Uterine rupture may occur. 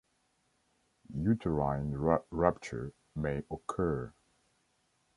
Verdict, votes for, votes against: rejected, 2, 3